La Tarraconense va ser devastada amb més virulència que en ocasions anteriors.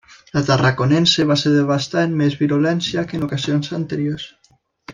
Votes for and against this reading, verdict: 2, 0, accepted